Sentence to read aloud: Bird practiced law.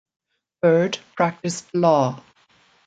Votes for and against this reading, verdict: 3, 0, accepted